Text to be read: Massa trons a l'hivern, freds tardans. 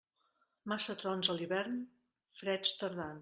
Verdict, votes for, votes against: rejected, 0, 2